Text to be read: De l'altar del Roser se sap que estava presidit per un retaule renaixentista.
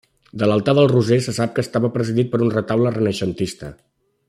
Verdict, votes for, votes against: accepted, 3, 0